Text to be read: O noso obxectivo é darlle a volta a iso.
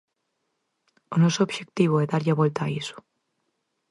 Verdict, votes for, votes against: accepted, 4, 0